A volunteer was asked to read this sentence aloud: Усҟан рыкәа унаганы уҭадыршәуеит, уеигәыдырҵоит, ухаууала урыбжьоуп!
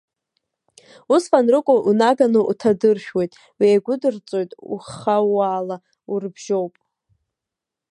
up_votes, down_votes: 0, 2